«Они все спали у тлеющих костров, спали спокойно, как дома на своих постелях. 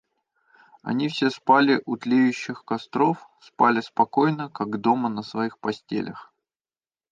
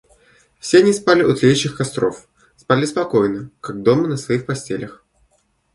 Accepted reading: first